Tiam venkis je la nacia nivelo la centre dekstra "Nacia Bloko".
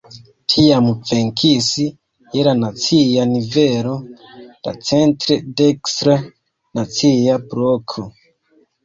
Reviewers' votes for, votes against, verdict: 0, 2, rejected